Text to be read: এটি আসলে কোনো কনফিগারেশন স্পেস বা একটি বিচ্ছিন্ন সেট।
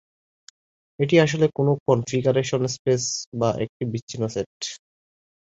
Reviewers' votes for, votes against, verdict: 2, 0, accepted